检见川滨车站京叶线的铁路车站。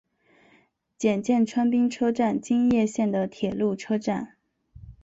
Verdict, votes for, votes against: accepted, 2, 0